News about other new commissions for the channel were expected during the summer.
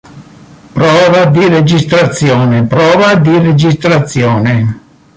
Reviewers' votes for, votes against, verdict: 0, 2, rejected